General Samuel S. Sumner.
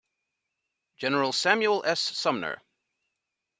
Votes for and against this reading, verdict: 2, 0, accepted